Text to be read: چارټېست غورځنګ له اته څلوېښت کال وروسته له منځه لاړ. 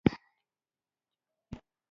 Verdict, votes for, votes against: rejected, 1, 2